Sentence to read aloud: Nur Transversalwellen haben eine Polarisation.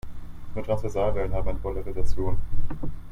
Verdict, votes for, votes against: accepted, 2, 1